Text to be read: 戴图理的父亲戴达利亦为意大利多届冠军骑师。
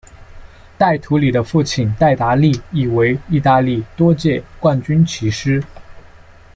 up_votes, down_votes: 2, 0